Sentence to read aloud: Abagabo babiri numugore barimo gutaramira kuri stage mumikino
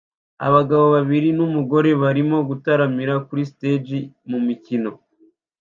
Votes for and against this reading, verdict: 2, 0, accepted